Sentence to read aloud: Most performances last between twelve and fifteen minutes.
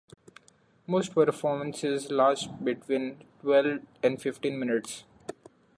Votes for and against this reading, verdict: 0, 2, rejected